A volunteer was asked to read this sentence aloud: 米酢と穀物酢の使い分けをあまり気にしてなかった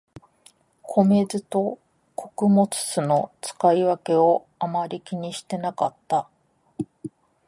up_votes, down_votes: 2, 0